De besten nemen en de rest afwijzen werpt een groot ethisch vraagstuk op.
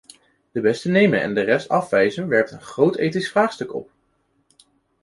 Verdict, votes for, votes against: accepted, 3, 0